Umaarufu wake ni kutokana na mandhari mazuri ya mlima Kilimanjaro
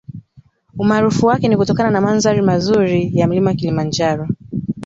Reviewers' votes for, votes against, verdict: 2, 0, accepted